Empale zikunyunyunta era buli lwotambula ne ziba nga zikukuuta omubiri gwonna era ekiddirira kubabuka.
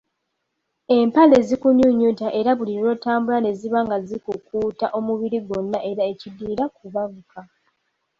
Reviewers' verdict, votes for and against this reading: accepted, 2, 0